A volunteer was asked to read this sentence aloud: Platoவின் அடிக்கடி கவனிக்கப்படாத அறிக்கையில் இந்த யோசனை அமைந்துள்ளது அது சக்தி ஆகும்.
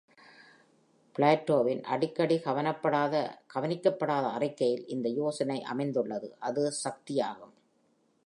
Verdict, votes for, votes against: rejected, 1, 2